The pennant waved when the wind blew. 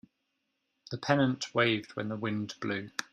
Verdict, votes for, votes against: accepted, 2, 0